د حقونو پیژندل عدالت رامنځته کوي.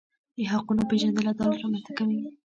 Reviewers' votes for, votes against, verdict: 0, 2, rejected